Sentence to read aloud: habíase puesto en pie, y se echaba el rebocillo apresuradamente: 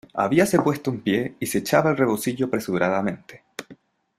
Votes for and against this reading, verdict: 2, 0, accepted